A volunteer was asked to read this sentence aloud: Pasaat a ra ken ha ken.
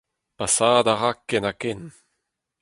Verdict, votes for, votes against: accepted, 4, 0